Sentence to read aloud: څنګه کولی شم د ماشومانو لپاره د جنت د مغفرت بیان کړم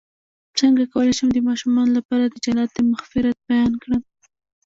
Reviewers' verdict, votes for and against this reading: rejected, 0, 2